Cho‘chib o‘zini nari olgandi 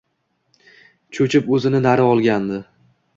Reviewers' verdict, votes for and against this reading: accepted, 2, 0